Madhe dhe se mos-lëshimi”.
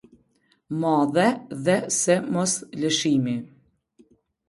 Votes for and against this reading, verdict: 2, 0, accepted